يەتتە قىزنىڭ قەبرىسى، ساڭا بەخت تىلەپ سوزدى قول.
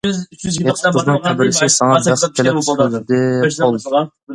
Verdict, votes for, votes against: rejected, 0, 2